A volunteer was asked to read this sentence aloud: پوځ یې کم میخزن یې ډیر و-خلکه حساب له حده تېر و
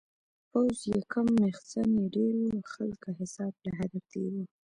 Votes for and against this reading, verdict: 2, 0, accepted